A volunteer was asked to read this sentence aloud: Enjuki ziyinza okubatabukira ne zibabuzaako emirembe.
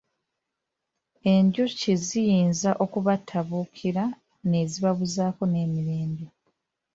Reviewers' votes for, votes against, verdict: 1, 2, rejected